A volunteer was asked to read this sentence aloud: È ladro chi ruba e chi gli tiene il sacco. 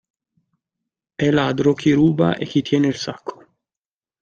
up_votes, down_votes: 0, 2